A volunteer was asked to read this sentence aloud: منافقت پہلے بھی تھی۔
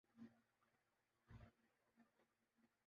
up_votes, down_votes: 0, 2